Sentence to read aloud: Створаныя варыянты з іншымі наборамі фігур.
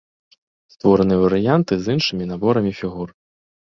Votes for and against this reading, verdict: 2, 0, accepted